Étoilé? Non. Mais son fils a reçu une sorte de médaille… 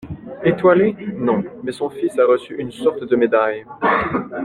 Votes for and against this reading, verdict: 2, 1, accepted